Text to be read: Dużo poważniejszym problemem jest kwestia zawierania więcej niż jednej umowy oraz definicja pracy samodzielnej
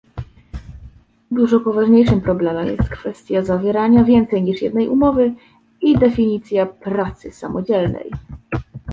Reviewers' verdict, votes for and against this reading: rejected, 0, 2